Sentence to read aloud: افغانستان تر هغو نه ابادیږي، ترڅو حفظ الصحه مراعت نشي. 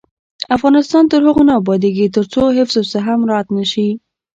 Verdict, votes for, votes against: rejected, 0, 2